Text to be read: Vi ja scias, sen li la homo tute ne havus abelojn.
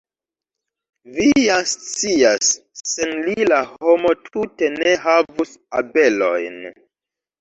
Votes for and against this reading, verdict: 2, 0, accepted